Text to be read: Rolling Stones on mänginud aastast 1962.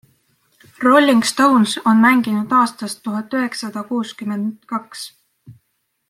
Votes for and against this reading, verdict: 0, 2, rejected